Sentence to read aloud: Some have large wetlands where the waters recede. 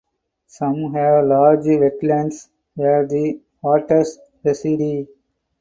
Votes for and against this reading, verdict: 0, 2, rejected